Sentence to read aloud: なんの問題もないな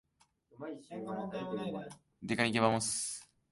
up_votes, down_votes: 0, 2